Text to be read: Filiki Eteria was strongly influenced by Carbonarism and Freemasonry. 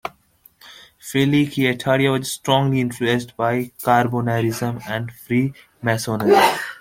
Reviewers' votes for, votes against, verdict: 2, 1, accepted